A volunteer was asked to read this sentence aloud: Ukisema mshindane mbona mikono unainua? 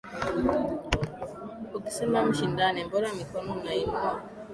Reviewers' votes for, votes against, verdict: 2, 0, accepted